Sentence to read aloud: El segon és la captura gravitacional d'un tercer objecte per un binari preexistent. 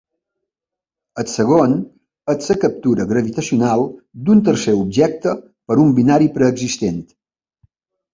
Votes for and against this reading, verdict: 0, 2, rejected